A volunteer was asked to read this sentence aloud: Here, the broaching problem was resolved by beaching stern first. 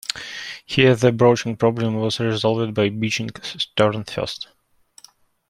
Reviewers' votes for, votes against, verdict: 0, 2, rejected